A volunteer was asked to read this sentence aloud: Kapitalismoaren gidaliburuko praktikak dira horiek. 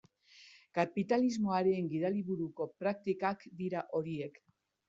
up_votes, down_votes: 1, 2